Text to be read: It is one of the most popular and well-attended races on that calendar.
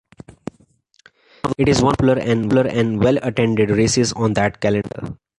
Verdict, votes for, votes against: rejected, 0, 2